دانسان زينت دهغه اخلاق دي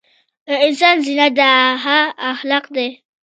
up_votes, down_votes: 1, 2